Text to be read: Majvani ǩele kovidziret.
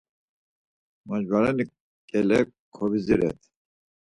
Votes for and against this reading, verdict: 2, 4, rejected